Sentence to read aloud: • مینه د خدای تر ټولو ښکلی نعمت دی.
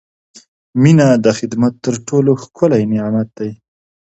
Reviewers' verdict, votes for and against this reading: rejected, 0, 2